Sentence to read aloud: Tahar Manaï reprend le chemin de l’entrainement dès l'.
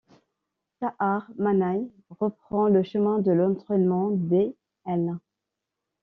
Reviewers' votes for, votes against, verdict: 1, 2, rejected